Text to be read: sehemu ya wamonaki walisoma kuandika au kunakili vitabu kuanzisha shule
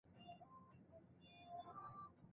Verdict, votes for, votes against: rejected, 0, 2